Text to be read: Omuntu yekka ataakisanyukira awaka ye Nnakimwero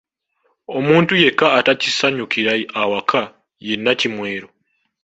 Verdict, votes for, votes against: accepted, 2, 0